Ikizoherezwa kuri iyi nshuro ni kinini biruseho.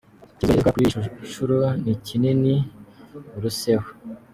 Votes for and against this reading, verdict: 1, 2, rejected